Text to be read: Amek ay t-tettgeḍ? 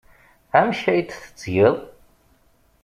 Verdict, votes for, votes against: accepted, 2, 0